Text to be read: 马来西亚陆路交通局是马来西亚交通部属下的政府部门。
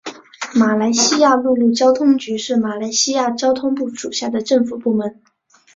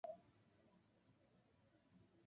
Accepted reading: first